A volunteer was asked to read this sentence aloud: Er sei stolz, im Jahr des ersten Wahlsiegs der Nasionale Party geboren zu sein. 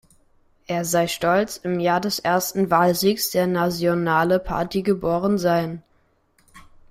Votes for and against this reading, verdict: 0, 2, rejected